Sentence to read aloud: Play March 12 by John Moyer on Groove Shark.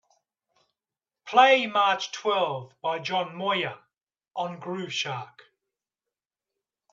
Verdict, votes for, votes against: rejected, 0, 2